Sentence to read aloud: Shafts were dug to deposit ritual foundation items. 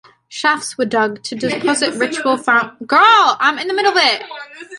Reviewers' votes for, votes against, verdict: 1, 2, rejected